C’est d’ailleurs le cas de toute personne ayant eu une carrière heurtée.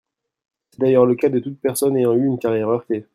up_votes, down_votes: 0, 2